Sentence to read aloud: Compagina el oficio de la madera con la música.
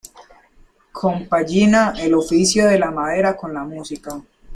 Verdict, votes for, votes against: rejected, 0, 2